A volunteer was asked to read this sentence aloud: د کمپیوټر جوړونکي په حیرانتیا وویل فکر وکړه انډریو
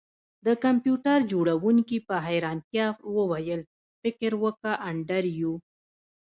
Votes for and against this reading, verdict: 2, 0, accepted